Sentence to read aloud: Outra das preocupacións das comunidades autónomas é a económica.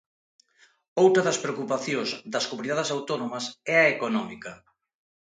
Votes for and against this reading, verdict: 2, 0, accepted